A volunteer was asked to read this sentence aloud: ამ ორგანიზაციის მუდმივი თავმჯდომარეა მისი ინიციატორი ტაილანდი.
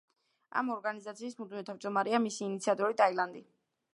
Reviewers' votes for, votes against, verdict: 0, 2, rejected